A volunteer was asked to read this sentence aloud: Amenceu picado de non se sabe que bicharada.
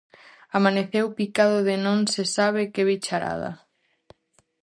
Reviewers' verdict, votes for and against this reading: rejected, 0, 4